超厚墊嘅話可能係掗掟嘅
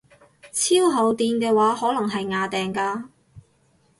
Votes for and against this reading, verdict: 2, 4, rejected